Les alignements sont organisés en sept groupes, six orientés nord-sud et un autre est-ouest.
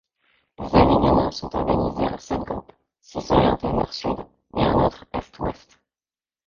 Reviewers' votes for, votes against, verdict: 0, 2, rejected